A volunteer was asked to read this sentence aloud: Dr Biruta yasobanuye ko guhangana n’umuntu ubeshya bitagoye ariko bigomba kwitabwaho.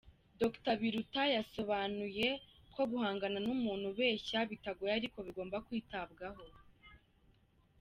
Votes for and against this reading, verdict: 1, 2, rejected